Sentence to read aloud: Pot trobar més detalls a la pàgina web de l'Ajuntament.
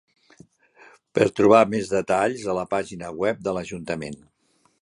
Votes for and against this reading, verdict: 1, 3, rejected